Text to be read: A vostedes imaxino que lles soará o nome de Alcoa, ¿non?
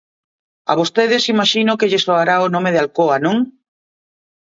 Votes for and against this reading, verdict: 3, 0, accepted